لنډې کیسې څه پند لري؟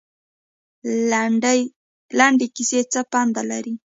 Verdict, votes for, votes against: accepted, 2, 0